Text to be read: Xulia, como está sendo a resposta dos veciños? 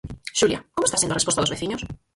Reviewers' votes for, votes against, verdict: 2, 4, rejected